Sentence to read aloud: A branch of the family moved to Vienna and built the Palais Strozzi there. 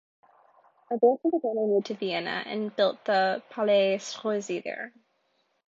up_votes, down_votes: 1, 2